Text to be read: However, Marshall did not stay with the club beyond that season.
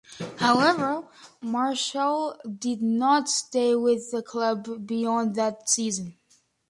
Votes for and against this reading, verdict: 2, 0, accepted